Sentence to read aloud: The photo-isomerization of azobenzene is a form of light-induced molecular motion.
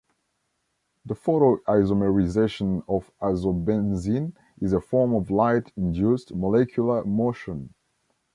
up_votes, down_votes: 0, 2